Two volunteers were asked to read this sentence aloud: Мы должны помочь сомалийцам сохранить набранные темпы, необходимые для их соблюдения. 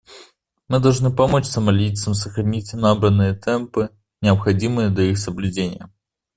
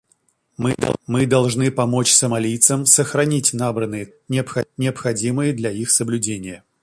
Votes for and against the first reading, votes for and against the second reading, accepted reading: 2, 0, 0, 2, first